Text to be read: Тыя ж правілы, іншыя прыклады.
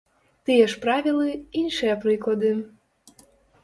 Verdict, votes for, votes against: accepted, 2, 0